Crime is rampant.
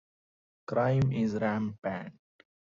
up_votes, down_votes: 2, 1